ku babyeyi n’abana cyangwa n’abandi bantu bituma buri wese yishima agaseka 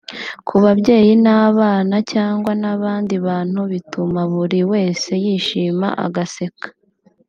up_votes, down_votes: 2, 0